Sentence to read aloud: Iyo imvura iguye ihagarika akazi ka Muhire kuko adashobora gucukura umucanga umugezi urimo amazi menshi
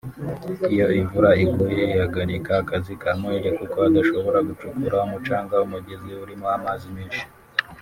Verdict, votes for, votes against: rejected, 1, 2